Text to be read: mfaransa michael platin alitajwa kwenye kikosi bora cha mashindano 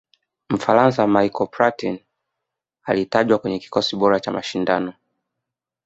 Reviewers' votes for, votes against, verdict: 2, 0, accepted